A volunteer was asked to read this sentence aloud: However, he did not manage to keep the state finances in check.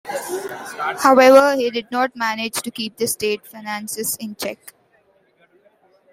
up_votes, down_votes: 1, 2